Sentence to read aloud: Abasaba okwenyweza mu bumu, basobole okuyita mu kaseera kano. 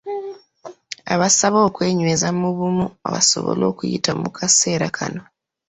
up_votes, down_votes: 2, 0